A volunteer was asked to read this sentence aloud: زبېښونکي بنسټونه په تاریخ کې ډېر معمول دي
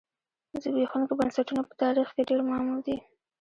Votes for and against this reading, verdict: 2, 0, accepted